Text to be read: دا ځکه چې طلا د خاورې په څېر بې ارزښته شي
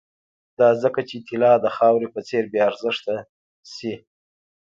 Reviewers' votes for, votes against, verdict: 1, 2, rejected